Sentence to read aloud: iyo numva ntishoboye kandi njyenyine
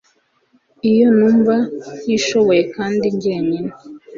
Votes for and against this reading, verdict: 2, 0, accepted